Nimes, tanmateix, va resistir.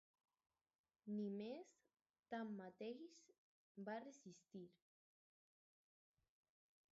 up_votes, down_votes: 0, 2